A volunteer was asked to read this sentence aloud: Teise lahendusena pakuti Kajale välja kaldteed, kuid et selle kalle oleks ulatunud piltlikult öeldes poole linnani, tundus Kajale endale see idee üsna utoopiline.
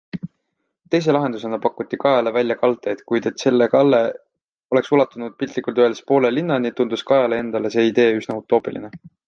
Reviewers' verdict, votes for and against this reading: accepted, 2, 0